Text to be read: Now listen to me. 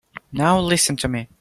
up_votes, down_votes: 2, 0